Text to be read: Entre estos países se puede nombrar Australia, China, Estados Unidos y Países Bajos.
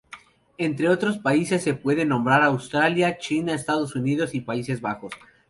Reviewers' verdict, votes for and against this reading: rejected, 0, 2